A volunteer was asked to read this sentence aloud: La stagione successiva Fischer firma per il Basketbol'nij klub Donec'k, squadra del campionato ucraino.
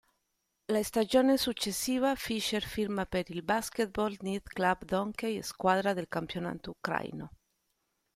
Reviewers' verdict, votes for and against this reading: rejected, 0, 2